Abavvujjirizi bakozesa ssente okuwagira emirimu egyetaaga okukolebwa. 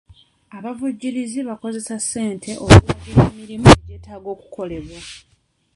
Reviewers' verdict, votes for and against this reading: rejected, 0, 2